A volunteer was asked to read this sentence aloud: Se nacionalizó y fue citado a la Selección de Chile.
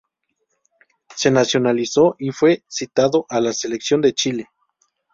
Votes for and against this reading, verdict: 2, 0, accepted